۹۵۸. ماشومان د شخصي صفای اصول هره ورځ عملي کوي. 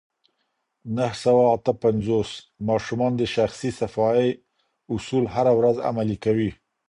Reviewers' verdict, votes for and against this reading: rejected, 0, 2